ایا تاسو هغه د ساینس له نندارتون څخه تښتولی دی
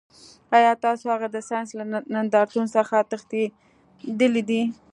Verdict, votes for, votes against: accepted, 2, 1